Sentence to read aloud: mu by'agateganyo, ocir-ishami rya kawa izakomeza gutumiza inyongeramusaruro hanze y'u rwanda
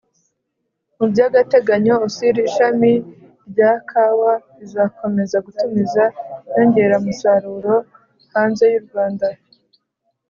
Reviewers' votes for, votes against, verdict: 2, 0, accepted